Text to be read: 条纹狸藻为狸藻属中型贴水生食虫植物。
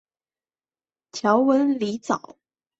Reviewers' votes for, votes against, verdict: 4, 3, accepted